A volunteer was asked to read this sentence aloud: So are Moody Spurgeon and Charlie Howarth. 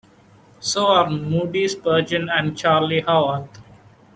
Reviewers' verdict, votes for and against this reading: accepted, 2, 0